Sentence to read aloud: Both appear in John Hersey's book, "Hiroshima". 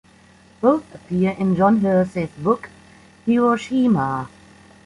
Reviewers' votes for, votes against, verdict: 2, 0, accepted